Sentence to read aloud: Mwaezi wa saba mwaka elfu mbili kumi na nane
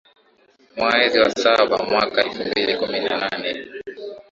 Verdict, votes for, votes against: accepted, 2, 0